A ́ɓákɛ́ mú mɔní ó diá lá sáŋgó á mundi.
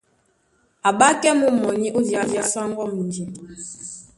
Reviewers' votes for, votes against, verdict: 1, 2, rejected